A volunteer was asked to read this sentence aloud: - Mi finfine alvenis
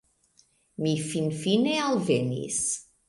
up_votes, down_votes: 2, 0